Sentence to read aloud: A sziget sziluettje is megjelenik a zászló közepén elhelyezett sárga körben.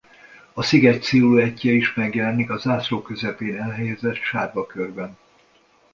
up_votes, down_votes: 2, 0